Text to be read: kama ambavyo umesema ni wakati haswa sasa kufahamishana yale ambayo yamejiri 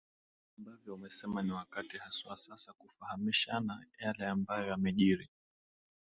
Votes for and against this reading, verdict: 0, 2, rejected